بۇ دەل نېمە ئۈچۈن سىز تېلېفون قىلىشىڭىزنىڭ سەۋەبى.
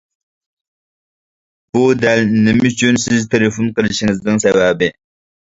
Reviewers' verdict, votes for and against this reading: accepted, 2, 0